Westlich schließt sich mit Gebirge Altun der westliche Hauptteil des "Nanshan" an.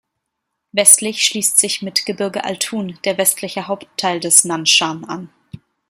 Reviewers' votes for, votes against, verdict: 2, 0, accepted